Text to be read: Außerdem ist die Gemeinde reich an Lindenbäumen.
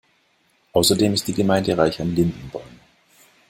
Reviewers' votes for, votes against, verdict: 2, 0, accepted